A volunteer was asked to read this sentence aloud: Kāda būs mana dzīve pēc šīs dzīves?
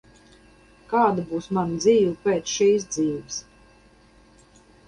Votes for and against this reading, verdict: 2, 2, rejected